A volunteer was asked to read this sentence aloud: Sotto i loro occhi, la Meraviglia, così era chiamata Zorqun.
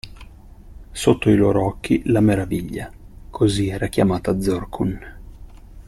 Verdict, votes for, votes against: accepted, 2, 0